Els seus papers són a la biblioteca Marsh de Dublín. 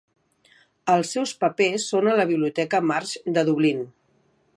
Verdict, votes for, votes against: accepted, 2, 0